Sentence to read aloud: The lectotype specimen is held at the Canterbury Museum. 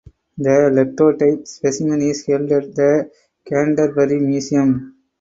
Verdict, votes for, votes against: accepted, 4, 2